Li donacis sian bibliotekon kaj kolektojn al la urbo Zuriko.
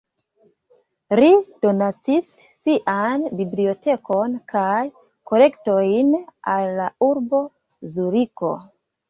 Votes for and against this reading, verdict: 2, 1, accepted